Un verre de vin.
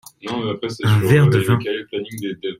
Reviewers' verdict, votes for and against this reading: rejected, 0, 2